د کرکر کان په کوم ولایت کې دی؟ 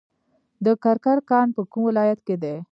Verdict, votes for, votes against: accepted, 2, 1